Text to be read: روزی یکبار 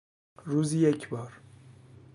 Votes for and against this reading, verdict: 2, 0, accepted